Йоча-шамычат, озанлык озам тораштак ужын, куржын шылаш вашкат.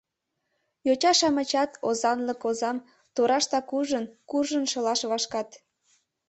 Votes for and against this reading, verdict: 2, 0, accepted